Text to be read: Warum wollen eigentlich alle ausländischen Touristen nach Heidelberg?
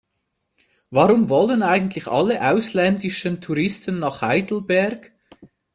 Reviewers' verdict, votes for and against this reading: rejected, 0, 2